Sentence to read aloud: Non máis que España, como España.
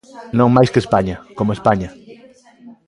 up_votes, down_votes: 2, 1